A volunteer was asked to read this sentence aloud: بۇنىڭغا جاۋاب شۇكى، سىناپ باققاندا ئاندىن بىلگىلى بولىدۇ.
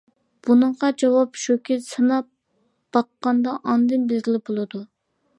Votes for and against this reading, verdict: 2, 1, accepted